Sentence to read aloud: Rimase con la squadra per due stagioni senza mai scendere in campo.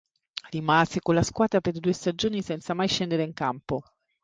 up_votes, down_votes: 3, 0